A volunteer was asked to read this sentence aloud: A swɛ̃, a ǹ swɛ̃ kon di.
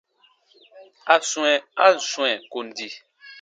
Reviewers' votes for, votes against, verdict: 2, 0, accepted